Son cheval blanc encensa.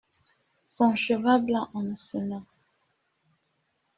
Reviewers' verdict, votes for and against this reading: rejected, 0, 2